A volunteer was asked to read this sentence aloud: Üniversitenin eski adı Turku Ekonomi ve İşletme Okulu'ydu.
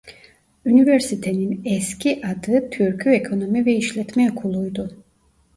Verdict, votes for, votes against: rejected, 1, 2